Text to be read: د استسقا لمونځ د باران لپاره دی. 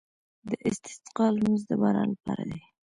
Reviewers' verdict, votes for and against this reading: rejected, 0, 2